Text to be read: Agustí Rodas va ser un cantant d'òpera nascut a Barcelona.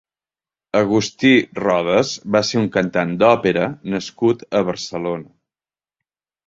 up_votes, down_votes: 3, 0